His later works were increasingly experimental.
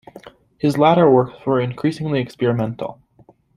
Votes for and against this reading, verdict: 1, 2, rejected